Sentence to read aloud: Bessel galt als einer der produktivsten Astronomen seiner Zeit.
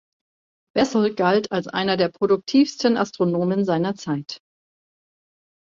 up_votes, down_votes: 1, 2